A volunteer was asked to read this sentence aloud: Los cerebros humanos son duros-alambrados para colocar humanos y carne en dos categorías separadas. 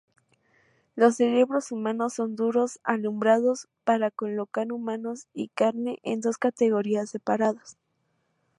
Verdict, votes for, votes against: accepted, 2, 0